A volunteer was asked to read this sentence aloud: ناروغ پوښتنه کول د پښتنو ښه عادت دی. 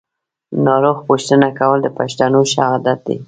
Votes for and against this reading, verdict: 2, 0, accepted